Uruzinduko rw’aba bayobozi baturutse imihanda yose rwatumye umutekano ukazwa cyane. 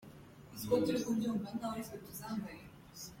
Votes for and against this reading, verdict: 0, 2, rejected